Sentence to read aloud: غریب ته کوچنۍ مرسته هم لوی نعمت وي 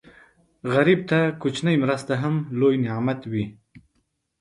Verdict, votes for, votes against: accepted, 2, 0